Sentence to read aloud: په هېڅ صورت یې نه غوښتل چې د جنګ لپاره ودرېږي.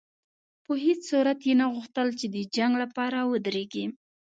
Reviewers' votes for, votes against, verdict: 2, 0, accepted